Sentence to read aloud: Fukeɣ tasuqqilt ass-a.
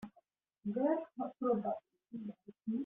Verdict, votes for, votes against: rejected, 0, 2